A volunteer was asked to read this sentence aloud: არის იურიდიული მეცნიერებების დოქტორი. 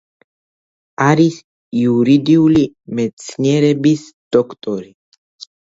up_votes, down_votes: 0, 2